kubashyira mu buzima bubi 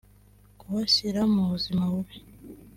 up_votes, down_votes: 2, 0